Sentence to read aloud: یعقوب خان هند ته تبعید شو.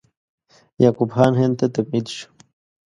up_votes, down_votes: 2, 0